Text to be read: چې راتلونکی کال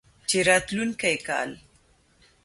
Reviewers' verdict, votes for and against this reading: accepted, 2, 0